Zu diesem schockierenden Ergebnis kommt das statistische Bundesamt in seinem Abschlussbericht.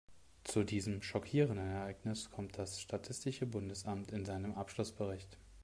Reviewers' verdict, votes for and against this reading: rejected, 1, 2